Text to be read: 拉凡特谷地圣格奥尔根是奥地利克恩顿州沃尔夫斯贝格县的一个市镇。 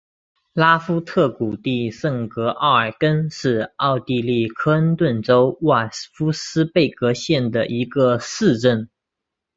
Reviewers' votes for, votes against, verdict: 4, 2, accepted